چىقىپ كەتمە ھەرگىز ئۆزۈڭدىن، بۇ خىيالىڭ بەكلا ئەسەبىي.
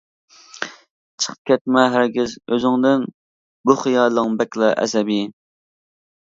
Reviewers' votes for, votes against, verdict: 2, 0, accepted